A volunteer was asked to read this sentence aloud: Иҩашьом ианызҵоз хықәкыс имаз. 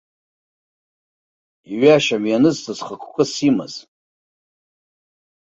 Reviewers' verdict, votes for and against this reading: accepted, 2, 0